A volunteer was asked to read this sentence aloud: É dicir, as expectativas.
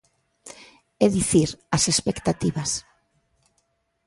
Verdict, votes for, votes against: accepted, 2, 0